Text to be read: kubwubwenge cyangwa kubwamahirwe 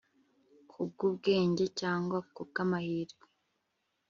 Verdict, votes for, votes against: accepted, 4, 0